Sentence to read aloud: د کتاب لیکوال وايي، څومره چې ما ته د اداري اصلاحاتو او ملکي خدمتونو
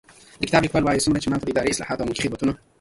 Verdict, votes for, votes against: rejected, 1, 2